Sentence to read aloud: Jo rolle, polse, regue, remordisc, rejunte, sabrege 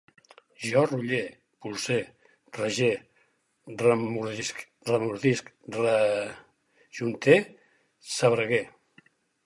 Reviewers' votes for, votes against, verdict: 0, 4, rejected